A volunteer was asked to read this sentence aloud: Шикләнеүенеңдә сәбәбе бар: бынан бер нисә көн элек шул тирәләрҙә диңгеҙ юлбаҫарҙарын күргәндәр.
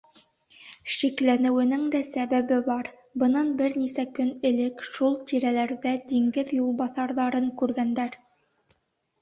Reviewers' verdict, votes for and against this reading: accepted, 2, 0